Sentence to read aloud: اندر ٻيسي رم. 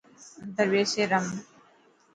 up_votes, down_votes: 2, 0